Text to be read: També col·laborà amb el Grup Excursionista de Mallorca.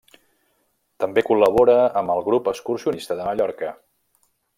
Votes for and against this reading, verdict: 0, 2, rejected